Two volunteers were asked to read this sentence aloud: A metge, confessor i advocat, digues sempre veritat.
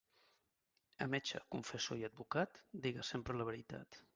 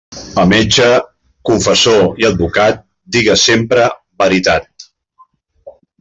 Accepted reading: second